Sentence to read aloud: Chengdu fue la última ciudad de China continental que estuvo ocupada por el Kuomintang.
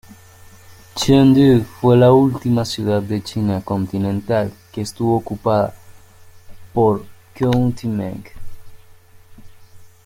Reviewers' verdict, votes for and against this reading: rejected, 0, 2